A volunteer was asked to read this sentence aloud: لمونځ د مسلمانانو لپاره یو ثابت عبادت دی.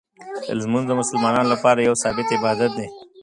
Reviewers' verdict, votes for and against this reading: rejected, 1, 2